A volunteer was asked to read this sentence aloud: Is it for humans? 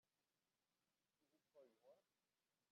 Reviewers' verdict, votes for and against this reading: rejected, 0, 2